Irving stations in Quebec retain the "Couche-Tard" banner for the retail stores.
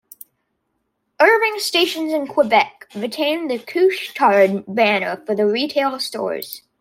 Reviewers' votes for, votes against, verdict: 2, 0, accepted